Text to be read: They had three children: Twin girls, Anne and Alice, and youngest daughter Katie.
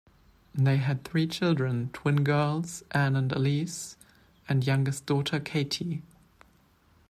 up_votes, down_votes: 2, 1